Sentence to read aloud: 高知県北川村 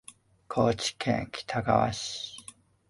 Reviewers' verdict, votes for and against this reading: rejected, 0, 2